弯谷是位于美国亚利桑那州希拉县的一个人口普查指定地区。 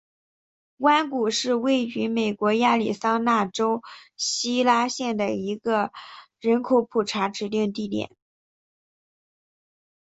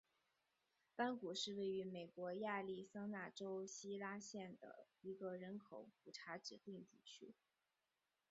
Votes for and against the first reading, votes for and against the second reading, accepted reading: 0, 2, 3, 1, second